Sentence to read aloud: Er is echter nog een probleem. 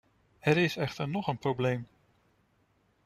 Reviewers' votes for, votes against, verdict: 2, 0, accepted